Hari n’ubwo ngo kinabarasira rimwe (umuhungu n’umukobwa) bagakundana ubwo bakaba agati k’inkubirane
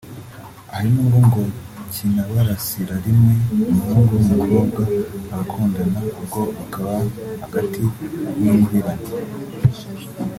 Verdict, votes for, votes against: rejected, 1, 2